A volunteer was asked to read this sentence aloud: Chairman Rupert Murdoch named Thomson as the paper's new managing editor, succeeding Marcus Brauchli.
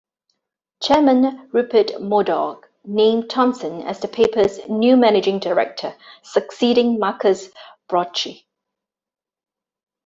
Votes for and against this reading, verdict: 0, 2, rejected